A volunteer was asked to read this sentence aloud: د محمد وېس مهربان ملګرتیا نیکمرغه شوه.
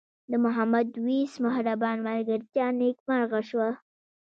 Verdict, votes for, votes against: rejected, 1, 2